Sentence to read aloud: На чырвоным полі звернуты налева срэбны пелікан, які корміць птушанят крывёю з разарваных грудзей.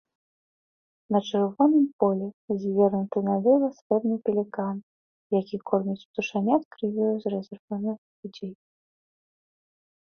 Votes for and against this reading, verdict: 2, 0, accepted